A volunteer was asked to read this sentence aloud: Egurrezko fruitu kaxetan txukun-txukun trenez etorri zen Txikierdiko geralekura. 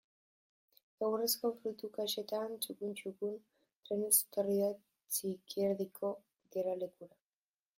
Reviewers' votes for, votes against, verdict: 0, 2, rejected